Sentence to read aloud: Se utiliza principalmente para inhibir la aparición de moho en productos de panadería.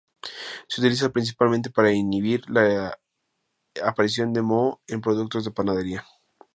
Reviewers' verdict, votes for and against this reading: accepted, 2, 0